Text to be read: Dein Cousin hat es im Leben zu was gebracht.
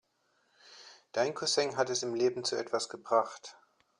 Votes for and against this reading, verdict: 1, 2, rejected